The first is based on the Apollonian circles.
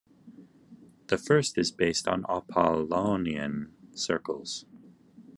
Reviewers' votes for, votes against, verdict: 1, 2, rejected